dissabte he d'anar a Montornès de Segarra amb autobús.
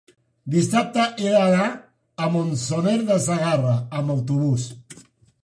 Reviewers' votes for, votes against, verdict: 0, 2, rejected